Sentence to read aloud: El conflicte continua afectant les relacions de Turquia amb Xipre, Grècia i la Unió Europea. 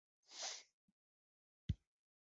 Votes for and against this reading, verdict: 0, 3, rejected